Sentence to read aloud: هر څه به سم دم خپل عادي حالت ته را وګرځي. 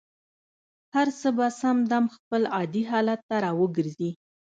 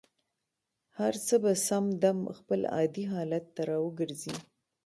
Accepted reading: second